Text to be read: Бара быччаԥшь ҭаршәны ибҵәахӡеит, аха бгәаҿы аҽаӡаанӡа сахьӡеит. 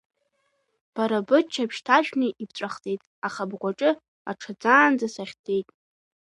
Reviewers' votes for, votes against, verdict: 2, 0, accepted